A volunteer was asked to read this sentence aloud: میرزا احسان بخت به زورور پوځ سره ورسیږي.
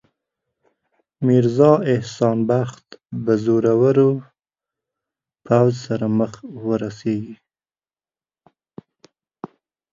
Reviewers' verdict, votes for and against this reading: rejected, 3, 4